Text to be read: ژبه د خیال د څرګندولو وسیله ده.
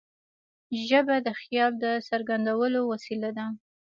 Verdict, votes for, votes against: accepted, 2, 0